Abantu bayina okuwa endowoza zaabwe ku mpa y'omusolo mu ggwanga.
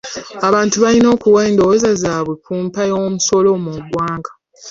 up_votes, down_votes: 2, 0